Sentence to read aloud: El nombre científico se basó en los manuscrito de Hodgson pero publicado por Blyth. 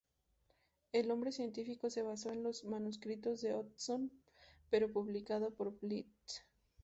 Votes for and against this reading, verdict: 2, 0, accepted